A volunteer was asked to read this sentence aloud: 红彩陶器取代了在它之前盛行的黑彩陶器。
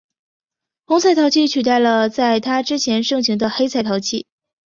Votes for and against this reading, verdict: 1, 2, rejected